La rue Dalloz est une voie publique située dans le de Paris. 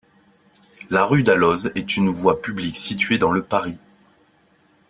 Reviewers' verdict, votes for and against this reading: rejected, 1, 2